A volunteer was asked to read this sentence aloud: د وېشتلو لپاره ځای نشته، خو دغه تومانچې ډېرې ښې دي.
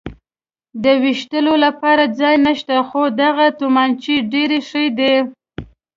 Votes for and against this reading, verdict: 2, 0, accepted